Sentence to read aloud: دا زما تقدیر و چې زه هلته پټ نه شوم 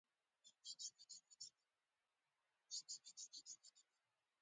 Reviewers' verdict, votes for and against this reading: rejected, 0, 2